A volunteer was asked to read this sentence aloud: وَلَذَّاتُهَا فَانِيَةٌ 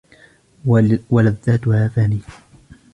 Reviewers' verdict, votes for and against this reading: rejected, 0, 2